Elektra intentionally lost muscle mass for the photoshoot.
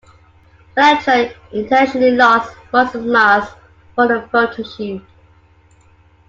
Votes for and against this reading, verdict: 2, 0, accepted